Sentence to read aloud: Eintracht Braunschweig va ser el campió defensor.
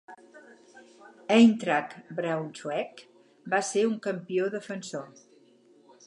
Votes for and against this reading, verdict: 0, 4, rejected